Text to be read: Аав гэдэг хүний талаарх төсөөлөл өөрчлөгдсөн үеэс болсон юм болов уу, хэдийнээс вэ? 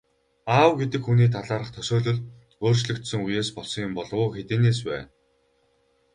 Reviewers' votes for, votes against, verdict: 4, 0, accepted